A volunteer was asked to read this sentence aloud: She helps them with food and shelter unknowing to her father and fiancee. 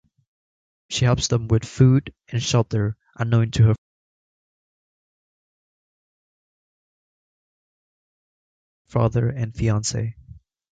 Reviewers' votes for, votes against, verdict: 1, 2, rejected